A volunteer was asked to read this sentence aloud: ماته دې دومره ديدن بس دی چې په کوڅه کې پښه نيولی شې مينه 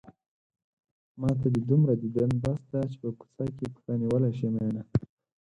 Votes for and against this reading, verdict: 4, 0, accepted